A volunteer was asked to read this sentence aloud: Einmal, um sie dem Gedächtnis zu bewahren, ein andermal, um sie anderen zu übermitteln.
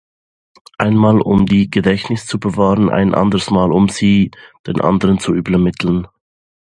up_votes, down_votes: 0, 2